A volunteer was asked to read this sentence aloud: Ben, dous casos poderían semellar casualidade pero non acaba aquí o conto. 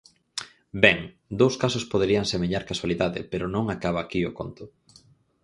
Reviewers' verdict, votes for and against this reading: accepted, 4, 0